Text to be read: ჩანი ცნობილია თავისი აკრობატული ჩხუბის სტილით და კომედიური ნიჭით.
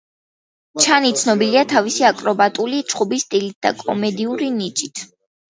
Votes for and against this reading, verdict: 2, 0, accepted